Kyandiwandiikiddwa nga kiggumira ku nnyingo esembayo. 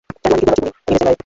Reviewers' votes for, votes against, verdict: 0, 2, rejected